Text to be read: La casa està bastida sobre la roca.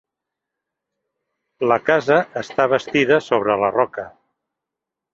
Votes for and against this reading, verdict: 2, 0, accepted